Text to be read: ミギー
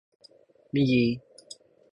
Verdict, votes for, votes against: accepted, 14, 0